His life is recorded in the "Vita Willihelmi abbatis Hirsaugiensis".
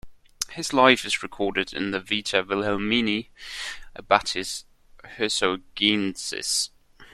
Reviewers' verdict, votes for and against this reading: accepted, 2, 1